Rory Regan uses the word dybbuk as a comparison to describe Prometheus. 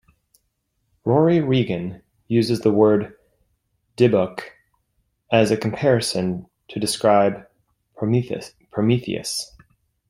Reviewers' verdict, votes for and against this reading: rejected, 0, 2